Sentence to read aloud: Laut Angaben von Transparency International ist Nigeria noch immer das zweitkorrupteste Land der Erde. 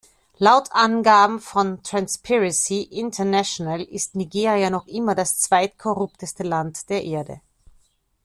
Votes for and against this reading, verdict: 0, 2, rejected